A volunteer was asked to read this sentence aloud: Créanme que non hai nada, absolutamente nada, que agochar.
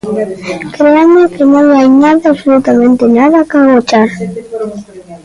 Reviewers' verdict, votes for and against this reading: rejected, 1, 2